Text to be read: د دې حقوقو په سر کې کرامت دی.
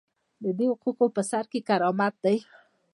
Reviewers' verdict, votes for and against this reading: rejected, 0, 2